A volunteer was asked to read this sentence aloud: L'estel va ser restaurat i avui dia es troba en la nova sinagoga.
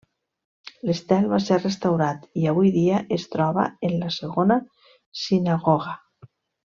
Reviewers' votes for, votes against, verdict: 0, 2, rejected